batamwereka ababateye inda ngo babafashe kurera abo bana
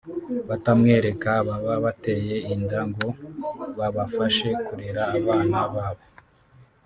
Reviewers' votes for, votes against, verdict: 0, 2, rejected